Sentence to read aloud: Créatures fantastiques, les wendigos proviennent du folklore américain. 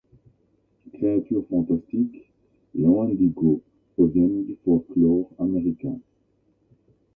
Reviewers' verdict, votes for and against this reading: rejected, 1, 2